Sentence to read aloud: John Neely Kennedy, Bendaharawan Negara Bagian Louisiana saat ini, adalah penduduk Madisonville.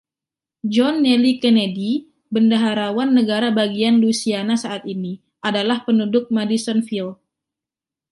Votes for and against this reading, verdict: 0, 2, rejected